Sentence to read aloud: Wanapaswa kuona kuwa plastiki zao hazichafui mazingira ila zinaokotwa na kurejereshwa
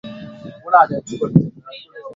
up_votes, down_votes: 0, 3